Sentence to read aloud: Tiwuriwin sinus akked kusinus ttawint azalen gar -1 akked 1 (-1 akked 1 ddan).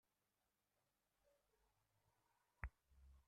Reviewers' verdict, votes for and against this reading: rejected, 0, 2